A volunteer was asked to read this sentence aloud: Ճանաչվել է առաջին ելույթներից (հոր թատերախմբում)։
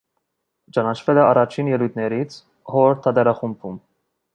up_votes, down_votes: 2, 0